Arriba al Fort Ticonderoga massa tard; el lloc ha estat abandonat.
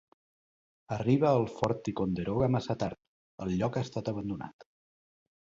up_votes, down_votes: 3, 0